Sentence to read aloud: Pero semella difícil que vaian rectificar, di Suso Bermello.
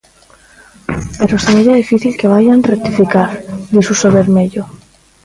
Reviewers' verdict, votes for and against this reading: rejected, 0, 2